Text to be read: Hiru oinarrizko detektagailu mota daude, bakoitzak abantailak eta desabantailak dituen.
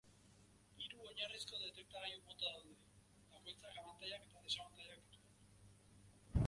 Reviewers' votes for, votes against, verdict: 1, 4, rejected